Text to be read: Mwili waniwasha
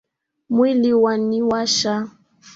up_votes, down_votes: 0, 2